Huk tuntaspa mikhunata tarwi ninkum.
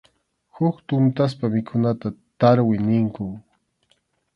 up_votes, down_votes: 2, 0